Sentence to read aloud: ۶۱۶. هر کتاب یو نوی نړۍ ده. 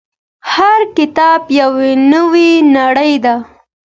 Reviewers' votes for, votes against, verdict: 0, 2, rejected